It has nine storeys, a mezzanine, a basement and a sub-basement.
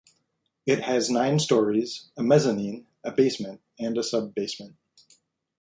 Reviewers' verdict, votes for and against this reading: accepted, 2, 0